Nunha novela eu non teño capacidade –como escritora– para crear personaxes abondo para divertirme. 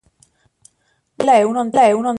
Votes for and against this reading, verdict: 0, 2, rejected